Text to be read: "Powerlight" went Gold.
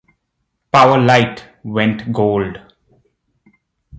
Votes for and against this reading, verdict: 2, 0, accepted